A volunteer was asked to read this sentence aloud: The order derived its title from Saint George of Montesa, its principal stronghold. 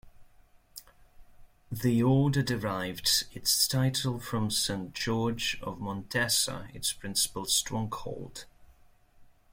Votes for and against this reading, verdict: 2, 0, accepted